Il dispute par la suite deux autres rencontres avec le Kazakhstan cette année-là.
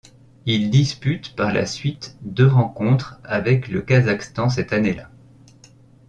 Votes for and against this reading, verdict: 0, 2, rejected